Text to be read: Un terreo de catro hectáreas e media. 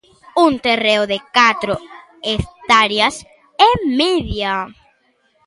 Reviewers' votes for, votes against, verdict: 2, 0, accepted